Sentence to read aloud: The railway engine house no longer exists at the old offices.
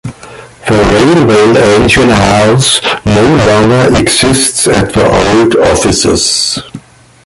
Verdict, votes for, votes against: rejected, 0, 2